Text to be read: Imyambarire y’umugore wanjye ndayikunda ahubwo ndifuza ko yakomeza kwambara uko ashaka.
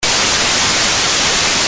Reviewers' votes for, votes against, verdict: 0, 2, rejected